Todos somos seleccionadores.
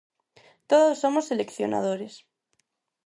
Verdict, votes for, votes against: rejected, 2, 2